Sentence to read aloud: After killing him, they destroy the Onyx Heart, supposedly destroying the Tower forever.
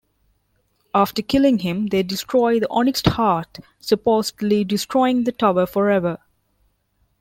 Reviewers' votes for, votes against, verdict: 1, 3, rejected